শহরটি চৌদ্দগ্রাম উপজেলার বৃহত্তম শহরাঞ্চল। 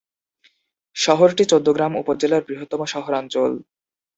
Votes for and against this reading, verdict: 2, 0, accepted